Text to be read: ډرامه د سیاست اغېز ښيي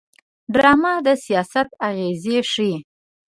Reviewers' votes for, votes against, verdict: 1, 2, rejected